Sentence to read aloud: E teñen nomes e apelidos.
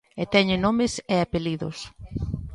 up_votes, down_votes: 3, 0